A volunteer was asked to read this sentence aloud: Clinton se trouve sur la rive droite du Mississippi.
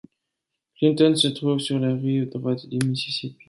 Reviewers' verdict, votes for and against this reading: rejected, 1, 2